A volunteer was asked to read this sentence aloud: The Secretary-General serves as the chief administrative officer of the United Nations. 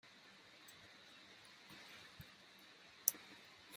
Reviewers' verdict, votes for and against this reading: rejected, 0, 2